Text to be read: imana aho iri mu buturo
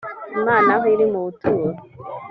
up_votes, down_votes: 3, 0